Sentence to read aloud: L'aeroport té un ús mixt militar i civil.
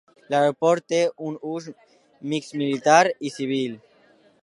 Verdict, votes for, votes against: accepted, 2, 1